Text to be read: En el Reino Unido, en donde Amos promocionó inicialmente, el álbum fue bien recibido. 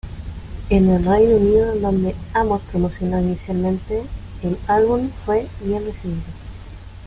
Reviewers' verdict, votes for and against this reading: rejected, 0, 2